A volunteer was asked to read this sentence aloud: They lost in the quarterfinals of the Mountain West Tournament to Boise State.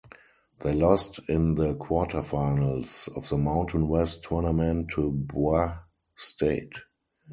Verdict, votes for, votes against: rejected, 0, 2